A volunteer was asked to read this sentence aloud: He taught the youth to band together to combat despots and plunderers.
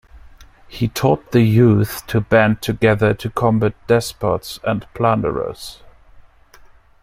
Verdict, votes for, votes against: accepted, 2, 1